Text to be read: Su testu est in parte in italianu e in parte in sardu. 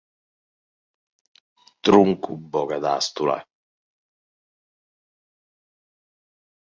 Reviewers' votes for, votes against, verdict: 0, 2, rejected